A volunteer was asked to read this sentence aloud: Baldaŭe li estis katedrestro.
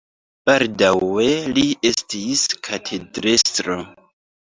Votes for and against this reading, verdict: 2, 4, rejected